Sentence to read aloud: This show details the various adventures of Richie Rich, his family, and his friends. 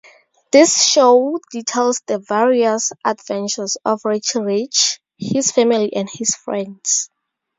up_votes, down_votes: 2, 2